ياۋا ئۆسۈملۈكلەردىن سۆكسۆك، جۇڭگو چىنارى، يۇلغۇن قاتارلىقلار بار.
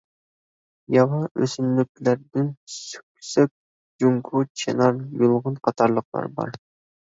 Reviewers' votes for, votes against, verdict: 0, 2, rejected